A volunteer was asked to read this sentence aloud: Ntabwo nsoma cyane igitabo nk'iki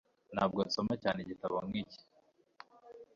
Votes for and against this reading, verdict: 3, 0, accepted